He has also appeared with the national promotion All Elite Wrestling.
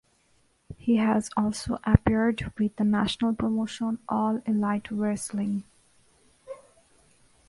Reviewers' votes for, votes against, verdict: 0, 2, rejected